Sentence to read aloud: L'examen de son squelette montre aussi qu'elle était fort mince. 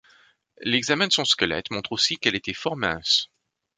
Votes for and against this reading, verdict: 2, 0, accepted